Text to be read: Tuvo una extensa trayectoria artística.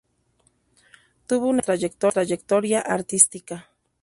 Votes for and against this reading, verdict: 0, 2, rejected